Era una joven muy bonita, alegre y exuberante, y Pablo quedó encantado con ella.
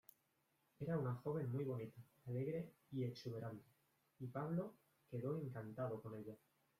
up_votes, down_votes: 1, 2